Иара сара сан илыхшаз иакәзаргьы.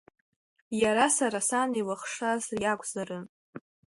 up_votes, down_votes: 2, 3